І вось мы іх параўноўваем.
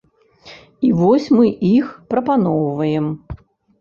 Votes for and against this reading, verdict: 0, 2, rejected